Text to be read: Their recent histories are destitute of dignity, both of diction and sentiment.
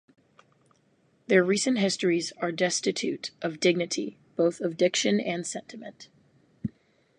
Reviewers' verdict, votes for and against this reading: accepted, 4, 0